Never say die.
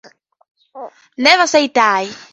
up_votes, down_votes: 2, 0